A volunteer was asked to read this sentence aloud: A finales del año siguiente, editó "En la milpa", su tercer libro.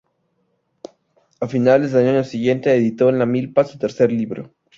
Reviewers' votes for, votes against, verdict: 4, 0, accepted